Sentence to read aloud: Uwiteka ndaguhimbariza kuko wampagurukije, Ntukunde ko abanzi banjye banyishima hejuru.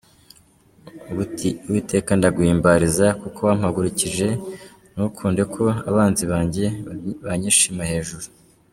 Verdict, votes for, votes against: accepted, 2, 0